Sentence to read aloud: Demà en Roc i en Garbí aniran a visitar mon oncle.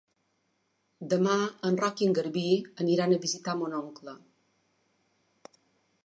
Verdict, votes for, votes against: rejected, 1, 2